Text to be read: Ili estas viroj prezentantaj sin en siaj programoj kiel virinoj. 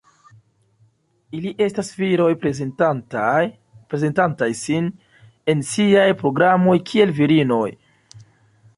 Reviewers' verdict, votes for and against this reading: rejected, 0, 2